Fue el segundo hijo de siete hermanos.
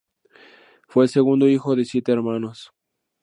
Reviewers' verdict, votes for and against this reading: accepted, 2, 0